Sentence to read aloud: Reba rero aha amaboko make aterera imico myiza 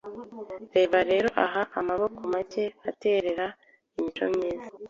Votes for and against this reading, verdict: 2, 0, accepted